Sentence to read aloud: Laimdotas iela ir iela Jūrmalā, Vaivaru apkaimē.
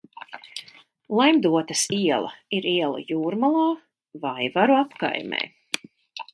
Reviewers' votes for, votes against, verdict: 2, 0, accepted